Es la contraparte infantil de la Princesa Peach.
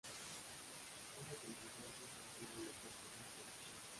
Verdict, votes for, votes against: rejected, 0, 2